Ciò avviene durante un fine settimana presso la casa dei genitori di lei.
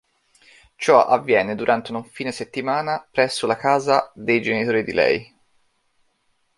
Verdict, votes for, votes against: rejected, 1, 2